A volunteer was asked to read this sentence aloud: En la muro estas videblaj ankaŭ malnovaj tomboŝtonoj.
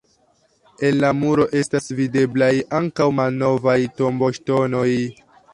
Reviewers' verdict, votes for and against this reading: rejected, 0, 2